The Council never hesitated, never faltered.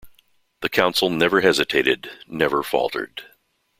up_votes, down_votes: 2, 0